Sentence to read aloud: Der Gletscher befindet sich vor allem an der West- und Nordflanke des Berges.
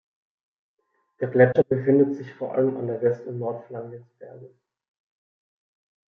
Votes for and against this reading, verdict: 1, 2, rejected